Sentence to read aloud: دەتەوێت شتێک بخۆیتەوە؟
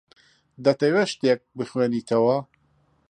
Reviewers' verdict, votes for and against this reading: rejected, 0, 2